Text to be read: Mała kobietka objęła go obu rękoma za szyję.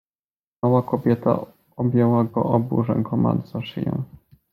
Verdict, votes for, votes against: rejected, 1, 2